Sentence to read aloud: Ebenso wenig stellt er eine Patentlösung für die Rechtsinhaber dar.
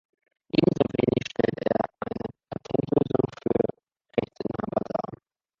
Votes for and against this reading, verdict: 1, 2, rejected